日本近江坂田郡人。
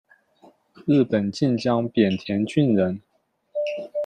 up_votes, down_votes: 1, 2